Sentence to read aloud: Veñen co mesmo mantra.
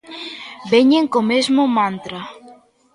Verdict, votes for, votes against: accepted, 2, 0